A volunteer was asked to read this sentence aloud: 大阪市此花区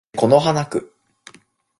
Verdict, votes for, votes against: rejected, 0, 2